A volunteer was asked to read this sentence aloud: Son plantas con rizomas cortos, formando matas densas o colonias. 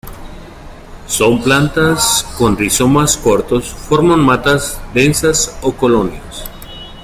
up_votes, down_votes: 0, 2